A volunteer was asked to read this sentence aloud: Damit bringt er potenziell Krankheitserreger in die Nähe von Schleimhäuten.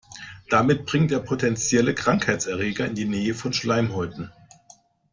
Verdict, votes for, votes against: rejected, 0, 2